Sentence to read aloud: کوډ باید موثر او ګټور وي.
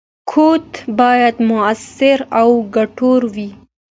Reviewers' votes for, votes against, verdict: 2, 0, accepted